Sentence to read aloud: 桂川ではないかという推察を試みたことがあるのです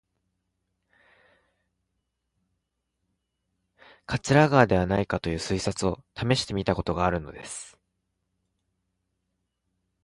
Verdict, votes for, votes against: rejected, 0, 2